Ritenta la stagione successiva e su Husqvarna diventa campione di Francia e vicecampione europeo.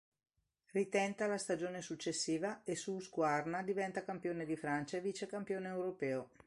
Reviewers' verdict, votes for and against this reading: accepted, 2, 1